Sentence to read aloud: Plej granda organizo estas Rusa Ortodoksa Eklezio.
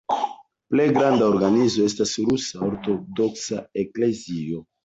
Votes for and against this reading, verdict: 2, 0, accepted